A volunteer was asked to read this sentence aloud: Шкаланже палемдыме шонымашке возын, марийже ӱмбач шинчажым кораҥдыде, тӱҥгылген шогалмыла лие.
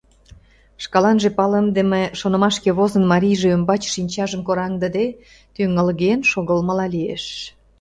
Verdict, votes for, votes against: rejected, 0, 2